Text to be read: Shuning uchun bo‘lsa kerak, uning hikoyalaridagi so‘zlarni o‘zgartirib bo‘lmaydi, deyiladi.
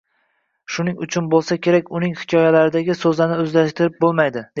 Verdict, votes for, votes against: rejected, 0, 2